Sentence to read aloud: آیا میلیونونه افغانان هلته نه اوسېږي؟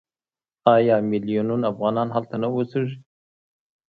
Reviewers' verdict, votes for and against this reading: accepted, 2, 0